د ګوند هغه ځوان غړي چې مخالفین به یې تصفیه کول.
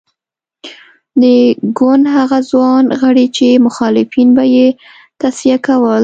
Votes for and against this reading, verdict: 2, 0, accepted